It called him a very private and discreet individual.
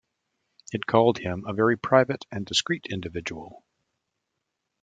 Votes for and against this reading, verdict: 2, 0, accepted